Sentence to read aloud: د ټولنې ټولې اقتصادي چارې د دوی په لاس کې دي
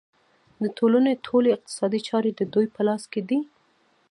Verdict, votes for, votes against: rejected, 1, 2